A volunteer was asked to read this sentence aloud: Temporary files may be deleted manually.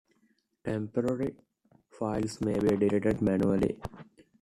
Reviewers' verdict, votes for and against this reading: accepted, 2, 0